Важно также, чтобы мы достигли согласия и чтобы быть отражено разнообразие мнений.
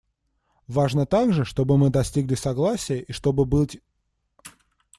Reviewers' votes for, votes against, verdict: 0, 2, rejected